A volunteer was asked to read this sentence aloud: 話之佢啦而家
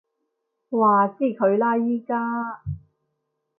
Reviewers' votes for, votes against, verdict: 1, 2, rejected